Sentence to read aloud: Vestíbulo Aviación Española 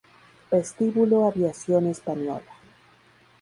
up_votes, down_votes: 2, 0